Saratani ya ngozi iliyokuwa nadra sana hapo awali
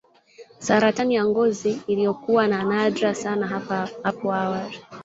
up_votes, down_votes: 0, 2